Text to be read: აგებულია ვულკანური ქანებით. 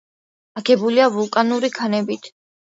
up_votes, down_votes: 2, 0